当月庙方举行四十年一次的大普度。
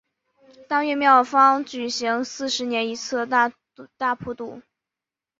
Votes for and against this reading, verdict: 2, 3, rejected